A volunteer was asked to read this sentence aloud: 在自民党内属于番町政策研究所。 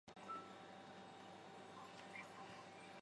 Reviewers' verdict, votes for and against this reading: rejected, 3, 4